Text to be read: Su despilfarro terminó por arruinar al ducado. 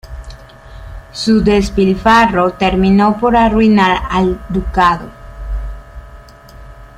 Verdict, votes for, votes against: rejected, 0, 2